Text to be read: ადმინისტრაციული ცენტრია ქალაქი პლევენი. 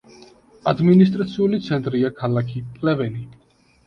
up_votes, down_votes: 2, 0